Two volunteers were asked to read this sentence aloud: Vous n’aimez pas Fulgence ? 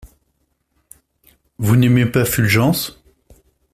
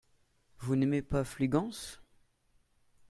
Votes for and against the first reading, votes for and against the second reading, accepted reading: 2, 0, 0, 2, first